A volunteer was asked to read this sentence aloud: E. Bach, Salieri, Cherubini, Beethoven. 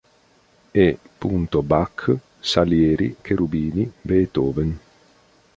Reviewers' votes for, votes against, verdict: 0, 2, rejected